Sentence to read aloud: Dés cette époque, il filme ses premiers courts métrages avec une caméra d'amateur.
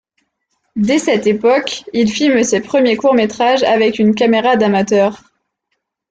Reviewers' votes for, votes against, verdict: 2, 0, accepted